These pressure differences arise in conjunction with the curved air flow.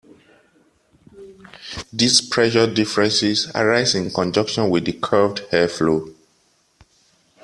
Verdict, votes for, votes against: accepted, 2, 0